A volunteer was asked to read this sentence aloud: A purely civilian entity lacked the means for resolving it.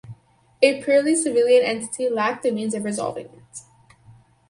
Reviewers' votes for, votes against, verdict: 2, 2, rejected